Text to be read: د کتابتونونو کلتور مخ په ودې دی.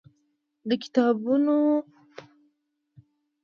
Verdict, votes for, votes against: rejected, 0, 2